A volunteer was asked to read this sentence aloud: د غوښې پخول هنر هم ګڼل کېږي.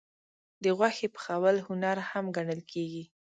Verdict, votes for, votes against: accepted, 2, 0